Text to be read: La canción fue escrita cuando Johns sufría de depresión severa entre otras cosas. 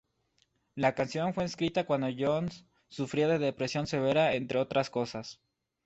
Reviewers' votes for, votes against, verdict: 2, 0, accepted